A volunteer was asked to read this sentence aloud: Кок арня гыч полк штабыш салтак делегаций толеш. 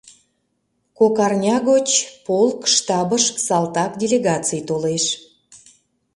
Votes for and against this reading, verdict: 0, 2, rejected